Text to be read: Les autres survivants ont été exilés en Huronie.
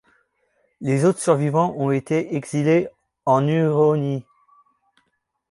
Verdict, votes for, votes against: accepted, 2, 0